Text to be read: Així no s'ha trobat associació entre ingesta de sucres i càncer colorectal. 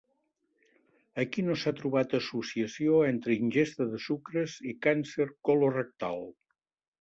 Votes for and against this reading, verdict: 1, 3, rejected